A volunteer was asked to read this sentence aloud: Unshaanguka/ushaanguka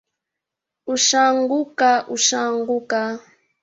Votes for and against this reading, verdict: 2, 3, rejected